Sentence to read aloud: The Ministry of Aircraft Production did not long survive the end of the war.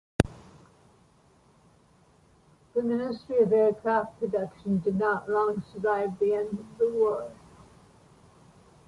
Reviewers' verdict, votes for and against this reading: accepted, 2, 0